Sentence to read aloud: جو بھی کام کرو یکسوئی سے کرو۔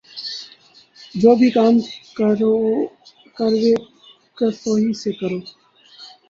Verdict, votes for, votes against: rejected, 2, 16